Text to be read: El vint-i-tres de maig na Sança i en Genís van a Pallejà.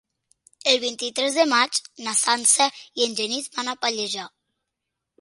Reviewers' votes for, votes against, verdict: 2, 1, accepted